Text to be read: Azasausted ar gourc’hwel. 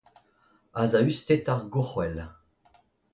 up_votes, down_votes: 2, 0